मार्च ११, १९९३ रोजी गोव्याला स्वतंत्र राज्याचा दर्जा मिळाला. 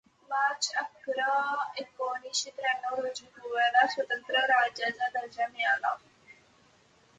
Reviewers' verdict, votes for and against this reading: rejected, 0, 2